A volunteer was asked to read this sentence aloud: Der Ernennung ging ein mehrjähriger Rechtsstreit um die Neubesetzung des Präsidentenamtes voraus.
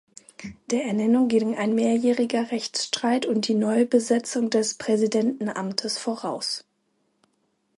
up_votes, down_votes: 2, 0